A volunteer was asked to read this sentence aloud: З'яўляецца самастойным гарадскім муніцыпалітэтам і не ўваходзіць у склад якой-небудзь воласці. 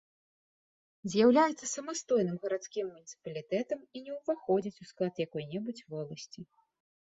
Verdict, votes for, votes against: accepted, 2, 0